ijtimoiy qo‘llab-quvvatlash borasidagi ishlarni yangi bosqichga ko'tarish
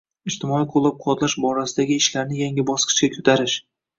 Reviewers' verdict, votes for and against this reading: accepted, 2, 1